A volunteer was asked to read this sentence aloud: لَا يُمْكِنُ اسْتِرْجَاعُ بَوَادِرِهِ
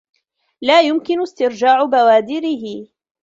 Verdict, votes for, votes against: accepted, 2, 1